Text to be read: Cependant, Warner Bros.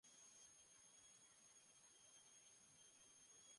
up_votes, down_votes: 1, 2